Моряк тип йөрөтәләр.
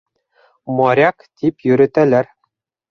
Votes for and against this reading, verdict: 1, 2, rejected